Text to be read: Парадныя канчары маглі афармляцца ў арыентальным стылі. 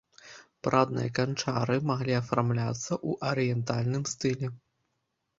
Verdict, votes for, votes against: rejected, 1, 2